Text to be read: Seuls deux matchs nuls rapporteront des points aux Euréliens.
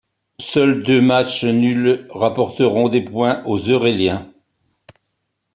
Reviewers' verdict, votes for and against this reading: accepted, 2, 0